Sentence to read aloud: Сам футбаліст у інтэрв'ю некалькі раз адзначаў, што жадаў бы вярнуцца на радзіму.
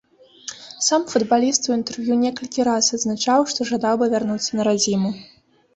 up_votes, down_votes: 2, 0